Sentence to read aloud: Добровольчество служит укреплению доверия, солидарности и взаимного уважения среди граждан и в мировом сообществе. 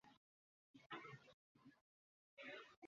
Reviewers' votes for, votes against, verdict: 0, 2, rejected